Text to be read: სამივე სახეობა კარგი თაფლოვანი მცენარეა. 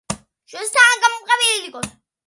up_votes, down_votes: 0, 2